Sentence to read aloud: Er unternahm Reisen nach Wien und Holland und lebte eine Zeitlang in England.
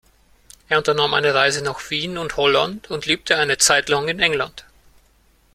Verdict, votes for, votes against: rejected, 0, 2